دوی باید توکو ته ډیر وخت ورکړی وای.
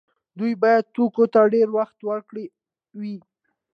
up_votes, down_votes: 2, 0